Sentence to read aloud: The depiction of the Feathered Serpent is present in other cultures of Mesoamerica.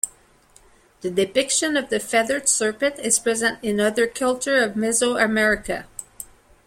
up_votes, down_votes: 1, 2